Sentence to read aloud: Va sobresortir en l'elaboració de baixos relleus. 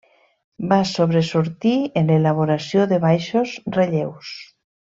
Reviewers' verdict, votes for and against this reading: rejected, 1, 2